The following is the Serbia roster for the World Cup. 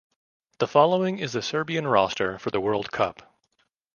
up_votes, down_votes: 2, 0